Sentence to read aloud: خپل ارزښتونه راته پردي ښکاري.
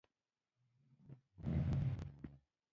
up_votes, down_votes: 0, 2